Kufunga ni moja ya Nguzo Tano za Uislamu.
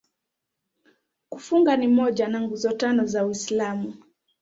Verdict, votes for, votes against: rejected, 1, 2